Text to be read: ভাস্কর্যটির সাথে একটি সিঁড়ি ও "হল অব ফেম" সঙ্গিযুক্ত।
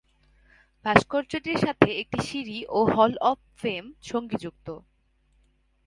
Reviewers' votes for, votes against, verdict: 3, 0, accepted